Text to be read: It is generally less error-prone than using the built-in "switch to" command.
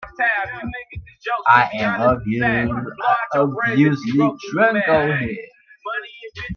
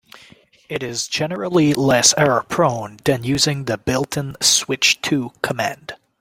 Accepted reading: second